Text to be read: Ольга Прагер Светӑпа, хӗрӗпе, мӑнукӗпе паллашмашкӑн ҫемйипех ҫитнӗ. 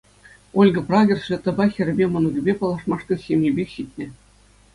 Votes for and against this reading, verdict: 2, 0, accepted